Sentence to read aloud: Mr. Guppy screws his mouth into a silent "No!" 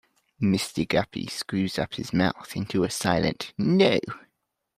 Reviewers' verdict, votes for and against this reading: rejected, 0, 2